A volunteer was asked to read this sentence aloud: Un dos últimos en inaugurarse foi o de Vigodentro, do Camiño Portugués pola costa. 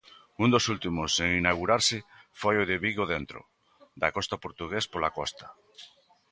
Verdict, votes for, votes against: rejected, 1, 2